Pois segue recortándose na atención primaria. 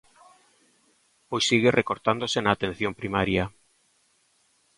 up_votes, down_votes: 2, 0